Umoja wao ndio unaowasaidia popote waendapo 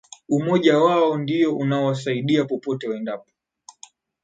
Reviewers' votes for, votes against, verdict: 2, 1, accepted